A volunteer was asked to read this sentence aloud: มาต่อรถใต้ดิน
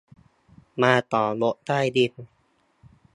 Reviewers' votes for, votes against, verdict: 2, 0, accepted